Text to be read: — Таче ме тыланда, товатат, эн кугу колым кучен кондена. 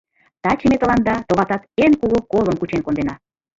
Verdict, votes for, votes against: accepted, 2, 0